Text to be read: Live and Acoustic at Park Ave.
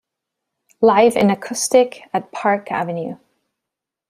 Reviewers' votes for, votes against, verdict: 2, 0, accepted